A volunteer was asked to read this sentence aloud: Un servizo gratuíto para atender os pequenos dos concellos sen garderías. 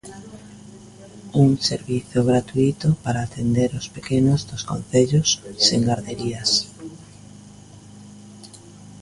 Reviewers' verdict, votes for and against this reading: rejected, 0, 2